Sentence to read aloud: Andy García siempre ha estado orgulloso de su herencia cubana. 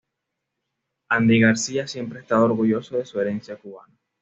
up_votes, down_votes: 2, 0